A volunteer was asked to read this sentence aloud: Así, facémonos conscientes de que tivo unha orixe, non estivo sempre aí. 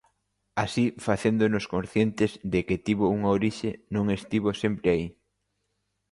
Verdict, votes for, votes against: rejected, 0, 2